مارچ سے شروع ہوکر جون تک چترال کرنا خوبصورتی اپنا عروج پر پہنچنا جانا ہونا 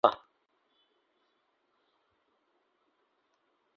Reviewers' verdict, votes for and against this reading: rejected, 0, 2